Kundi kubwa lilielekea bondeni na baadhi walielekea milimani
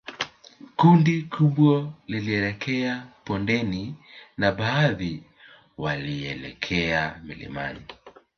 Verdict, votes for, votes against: accepted, 2, 0